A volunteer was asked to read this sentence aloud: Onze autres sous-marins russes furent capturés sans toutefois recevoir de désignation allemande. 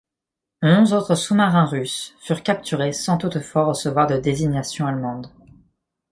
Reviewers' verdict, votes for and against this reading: rejected, 1, 3